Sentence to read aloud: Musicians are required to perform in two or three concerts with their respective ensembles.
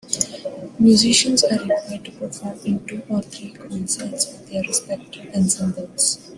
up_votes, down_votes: 1, 2